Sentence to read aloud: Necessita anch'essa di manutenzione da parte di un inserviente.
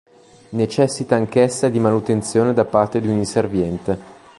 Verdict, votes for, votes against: accepted, 2, 0